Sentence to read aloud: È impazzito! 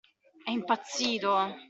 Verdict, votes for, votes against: accepted, 2, 0